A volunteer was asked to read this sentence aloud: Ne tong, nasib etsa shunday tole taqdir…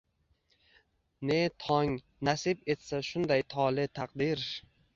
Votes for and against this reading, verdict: 2, 0, accepted